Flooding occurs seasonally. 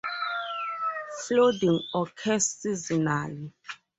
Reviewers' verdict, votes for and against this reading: rejected, 2, 2